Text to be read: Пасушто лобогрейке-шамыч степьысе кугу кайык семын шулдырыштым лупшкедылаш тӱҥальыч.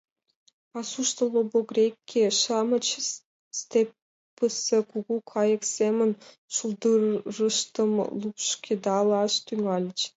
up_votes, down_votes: 1, 2